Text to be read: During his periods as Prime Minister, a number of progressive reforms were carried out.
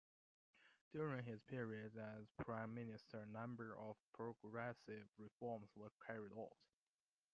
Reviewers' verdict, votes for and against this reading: accepted, 2, 0